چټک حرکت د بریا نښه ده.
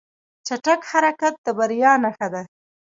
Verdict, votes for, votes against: accepted, 2, 0